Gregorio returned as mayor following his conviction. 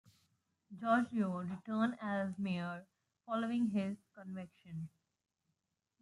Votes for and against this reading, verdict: 1, 2, rejected